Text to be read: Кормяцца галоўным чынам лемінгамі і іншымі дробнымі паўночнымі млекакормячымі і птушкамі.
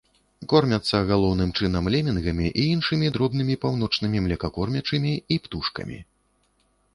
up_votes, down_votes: 2, 0